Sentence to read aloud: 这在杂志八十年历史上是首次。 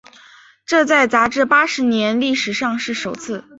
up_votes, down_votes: 3, 0